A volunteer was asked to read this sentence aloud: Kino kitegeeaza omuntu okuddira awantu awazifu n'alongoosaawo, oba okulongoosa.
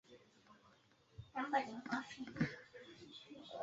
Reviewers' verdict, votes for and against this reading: rejected, 0, 2